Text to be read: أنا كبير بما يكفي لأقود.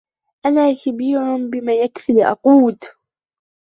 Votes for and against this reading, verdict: 2, 1, accepted